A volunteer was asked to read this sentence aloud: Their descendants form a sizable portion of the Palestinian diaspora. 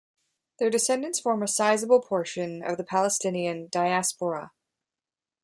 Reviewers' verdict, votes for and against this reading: rejected, 1, 2